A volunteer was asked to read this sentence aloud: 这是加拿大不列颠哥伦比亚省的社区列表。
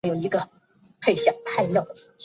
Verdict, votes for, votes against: rejected, 2, 3